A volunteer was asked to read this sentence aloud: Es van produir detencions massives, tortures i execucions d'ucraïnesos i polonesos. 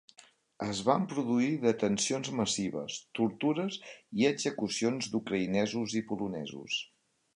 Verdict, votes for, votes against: accepted, 3, 0